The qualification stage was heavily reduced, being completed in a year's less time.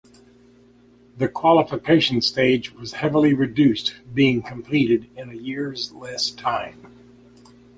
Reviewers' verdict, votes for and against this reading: accepted, 2, 0